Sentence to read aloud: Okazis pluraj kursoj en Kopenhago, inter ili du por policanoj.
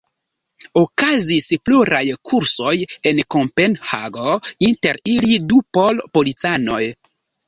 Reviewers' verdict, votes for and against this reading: rejected, 1, 2